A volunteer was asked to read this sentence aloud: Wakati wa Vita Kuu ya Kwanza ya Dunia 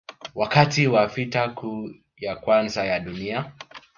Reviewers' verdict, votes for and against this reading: rejected, 1, 2